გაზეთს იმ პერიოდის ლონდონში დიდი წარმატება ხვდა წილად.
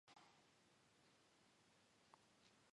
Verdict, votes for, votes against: rejected, 0, 2